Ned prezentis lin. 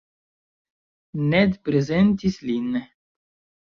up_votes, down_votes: 2, 0